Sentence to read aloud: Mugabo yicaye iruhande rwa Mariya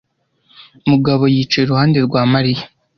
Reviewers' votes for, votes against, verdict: 2, 0, accepted